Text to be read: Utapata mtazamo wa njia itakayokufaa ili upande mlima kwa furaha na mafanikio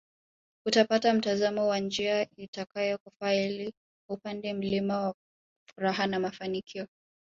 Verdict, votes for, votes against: rejected, 0, 2